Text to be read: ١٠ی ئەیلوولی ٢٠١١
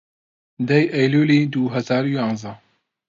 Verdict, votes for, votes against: rejected, 0, 2